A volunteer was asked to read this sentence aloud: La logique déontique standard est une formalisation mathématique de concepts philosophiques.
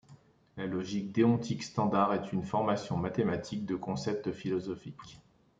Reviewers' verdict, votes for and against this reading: rejected, 0, 2